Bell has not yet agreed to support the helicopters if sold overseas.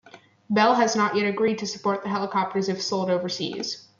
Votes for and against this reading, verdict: 0, 2, rejected